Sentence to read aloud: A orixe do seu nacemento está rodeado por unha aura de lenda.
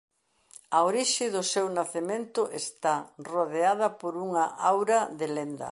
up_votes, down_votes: 1, 2